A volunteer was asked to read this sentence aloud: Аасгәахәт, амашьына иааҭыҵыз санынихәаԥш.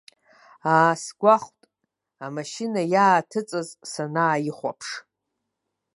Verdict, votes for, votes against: rejected, 0, 2